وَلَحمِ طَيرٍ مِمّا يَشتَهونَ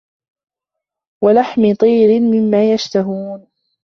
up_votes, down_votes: 1, 2